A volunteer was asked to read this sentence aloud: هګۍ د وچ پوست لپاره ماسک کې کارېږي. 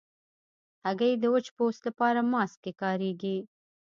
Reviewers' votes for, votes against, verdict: 0, 2, rejected